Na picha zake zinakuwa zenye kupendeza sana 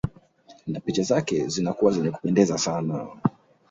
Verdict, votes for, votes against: accepted, 7, 0